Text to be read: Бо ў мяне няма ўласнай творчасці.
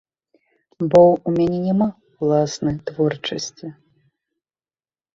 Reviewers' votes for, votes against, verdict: 2, 0, accepted